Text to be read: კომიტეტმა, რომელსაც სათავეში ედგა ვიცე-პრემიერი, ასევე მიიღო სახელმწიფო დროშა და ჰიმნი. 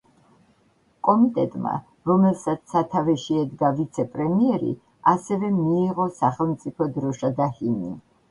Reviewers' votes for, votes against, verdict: 1, 2, rejected